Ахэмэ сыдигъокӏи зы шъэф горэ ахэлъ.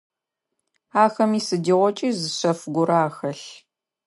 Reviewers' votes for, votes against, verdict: 2, 0, accepted